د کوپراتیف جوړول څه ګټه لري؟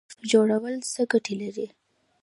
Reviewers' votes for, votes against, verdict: 1, 2, rejected